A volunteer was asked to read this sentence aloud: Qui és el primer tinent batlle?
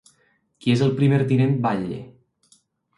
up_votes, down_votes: 2, 0